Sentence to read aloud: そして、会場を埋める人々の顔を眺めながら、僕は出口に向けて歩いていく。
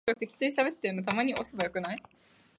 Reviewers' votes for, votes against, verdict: 0, 2, rejected